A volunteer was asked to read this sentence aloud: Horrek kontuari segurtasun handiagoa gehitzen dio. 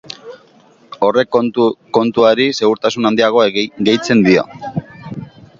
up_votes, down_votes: 1, 2